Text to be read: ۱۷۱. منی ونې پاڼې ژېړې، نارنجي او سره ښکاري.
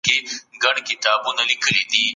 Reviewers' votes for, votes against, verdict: 0, 2, rejected